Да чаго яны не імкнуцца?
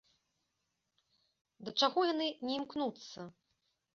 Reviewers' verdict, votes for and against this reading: accepted, 2, 0